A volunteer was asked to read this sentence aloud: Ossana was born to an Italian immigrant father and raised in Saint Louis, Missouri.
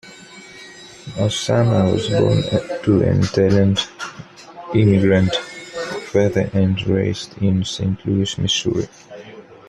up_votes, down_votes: 1, 2